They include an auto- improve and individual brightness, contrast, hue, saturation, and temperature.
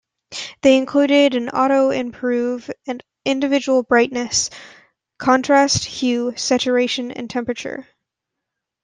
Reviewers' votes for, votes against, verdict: 0, 2, rejected